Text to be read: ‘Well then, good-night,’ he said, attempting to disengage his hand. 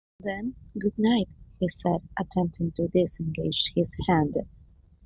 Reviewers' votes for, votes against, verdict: 1, 2, rejected